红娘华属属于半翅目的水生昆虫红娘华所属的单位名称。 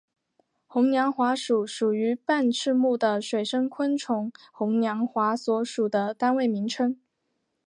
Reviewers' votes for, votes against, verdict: 2, 1, accepted